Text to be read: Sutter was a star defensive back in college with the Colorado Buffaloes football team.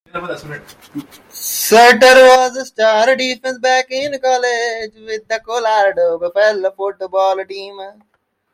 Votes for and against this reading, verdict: 2, 1, accepted